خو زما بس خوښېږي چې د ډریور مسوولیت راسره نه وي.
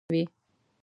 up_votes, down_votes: 0, 2